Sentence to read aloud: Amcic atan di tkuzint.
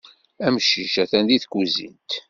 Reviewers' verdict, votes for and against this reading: accepted, 2, 0